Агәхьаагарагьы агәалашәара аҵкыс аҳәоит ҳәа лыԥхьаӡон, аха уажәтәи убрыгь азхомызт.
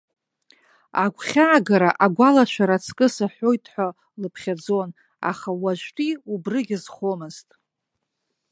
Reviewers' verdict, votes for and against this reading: rejected, 1, 2